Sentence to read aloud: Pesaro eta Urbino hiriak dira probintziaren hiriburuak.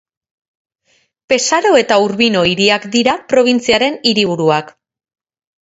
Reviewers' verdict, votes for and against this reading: accepted, 4, 0